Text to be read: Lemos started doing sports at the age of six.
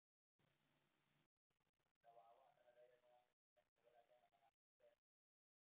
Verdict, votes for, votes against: rejected, 0, 2